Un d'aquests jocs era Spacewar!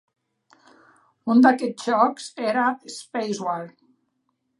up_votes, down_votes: 3, 1